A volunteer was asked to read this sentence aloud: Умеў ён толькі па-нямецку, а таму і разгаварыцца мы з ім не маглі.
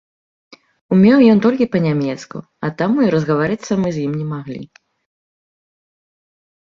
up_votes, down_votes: 2, 0